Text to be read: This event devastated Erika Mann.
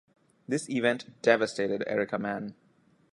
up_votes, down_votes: 2, 0